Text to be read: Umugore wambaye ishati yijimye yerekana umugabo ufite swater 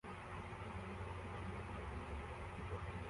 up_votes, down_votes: 0, 2